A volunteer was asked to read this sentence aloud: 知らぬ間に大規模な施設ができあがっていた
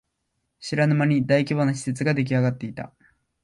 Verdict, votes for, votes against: accepted, 2, 0